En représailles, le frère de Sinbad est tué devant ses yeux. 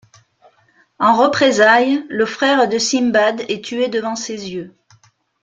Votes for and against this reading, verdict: 2, 0, accepted